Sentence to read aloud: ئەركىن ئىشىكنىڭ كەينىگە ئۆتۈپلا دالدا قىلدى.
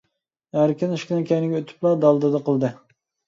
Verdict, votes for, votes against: rejected, 0, 2